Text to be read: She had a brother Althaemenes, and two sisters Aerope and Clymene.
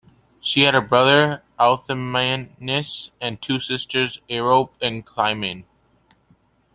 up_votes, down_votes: 2, 0